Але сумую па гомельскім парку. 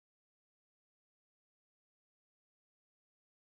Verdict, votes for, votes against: rejected, 0, 2